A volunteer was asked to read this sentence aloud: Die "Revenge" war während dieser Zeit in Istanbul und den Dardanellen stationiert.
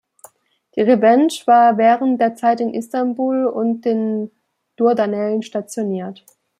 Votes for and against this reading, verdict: 0, 2, rejected